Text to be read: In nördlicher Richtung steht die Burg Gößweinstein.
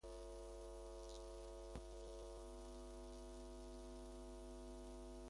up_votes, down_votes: 0, 2